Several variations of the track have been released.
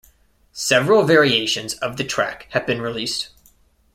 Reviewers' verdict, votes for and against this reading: accepted, 2, 0